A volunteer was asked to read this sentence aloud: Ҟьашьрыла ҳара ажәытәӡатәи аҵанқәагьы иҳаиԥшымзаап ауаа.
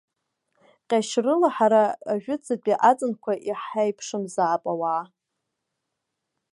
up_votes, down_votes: 0, 2